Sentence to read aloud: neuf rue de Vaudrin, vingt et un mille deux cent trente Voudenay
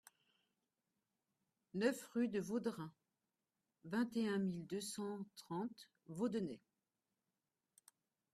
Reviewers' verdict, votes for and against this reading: rejected, 1, 2